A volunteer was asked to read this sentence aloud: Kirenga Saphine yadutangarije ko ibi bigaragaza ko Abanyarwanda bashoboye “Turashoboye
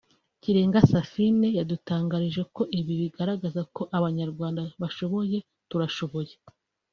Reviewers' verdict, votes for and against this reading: rejected, 1, 2